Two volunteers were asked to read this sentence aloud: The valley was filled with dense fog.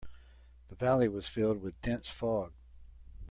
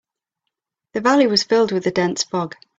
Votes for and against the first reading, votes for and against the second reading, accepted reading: 2, 0, 0, 3, first